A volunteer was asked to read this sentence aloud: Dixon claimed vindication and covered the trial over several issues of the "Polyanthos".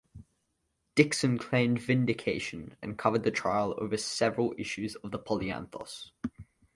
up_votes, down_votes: 2, 0